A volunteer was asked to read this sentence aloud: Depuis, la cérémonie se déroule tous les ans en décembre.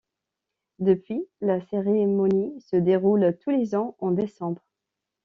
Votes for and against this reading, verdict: 1, 2, rejected